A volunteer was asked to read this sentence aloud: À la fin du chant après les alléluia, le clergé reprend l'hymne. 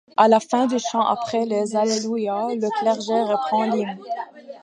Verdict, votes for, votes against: accepted, 2, 0